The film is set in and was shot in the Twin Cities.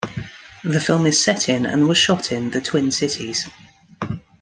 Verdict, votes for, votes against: rejected, 1, 2